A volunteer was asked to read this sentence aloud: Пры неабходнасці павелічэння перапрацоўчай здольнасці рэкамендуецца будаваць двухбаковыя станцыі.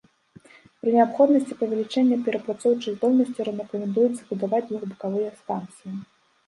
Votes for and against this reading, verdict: 1, 2, rejected